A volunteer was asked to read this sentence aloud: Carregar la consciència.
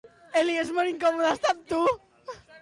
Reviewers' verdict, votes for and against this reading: rejected, 0, 2